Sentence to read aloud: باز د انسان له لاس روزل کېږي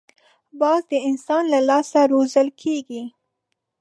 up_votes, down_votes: 5, 0